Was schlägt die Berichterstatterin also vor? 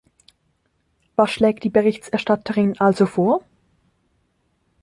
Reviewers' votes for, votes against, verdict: 1, 2, rejected